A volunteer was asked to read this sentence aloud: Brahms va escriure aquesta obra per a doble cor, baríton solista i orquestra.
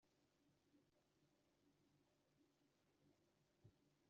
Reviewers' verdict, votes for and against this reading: rejected, 0, 2